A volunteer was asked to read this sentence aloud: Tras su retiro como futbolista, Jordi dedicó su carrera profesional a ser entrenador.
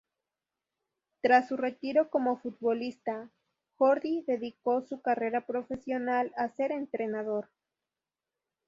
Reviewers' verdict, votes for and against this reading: rejected, 0, 2